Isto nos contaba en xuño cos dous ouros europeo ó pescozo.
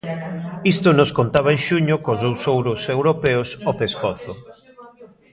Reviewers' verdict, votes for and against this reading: rejected, 0, 2